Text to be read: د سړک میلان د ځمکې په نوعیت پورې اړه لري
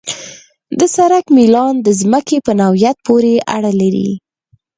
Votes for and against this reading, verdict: 4, 0, accepted